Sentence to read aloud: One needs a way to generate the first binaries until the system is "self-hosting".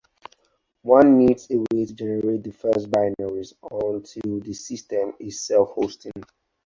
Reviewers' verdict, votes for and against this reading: rejected, 0, 4